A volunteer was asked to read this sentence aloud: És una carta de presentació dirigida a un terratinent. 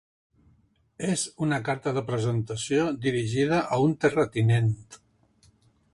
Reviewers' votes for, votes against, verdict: 4, 1, accepted